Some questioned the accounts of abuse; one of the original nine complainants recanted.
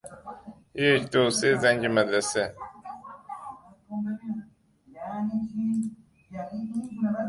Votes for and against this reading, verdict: 0, 2, rejected